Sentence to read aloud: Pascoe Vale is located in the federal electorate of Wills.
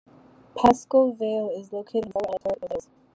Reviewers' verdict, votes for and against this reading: rejected, 0, 2